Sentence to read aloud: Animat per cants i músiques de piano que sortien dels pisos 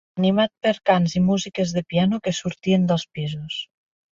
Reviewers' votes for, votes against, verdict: 4, 6, rejected